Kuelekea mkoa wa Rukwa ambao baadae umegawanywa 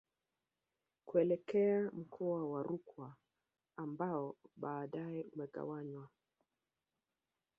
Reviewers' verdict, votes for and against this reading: rejected, 1, 2